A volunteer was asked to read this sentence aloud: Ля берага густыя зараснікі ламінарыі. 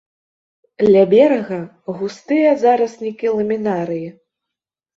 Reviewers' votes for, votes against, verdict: 2, 0, accepted